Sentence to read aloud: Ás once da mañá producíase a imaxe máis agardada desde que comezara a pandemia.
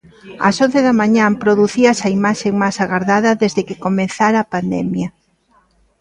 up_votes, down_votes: 2, 1